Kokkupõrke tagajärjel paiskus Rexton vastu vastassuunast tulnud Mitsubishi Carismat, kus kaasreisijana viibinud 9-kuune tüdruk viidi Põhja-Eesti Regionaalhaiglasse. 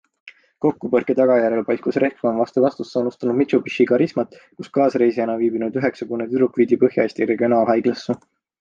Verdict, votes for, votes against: rejected, 0, 2